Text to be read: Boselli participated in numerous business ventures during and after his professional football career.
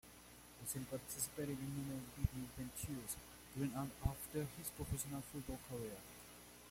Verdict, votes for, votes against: rejected, 1, 2